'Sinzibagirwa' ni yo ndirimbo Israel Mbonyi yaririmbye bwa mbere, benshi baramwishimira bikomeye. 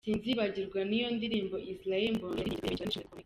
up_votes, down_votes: 1, 2